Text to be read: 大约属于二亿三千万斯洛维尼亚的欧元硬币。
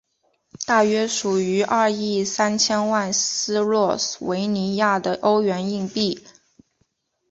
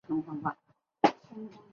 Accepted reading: first